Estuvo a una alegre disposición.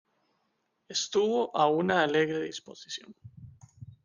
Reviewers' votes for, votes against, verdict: 3, 1, accepted